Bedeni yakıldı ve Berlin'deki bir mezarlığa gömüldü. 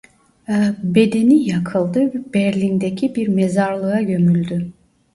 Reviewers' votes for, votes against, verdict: 0, 2, rejected